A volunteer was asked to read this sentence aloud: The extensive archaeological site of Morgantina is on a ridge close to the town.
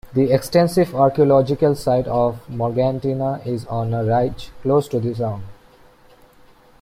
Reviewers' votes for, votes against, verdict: 1, 2, rejected